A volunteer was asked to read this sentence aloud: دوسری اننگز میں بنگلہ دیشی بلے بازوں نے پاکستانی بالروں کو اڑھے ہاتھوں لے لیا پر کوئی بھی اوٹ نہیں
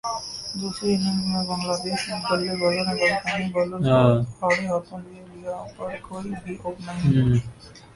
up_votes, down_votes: 0, 2